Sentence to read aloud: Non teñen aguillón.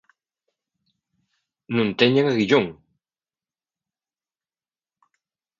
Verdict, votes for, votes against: accepted, 2, 0